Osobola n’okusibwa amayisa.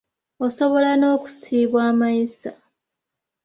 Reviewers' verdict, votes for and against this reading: accepted, 2, 1